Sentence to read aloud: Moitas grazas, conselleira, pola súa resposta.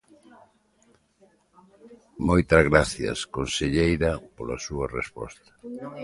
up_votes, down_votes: 1, 2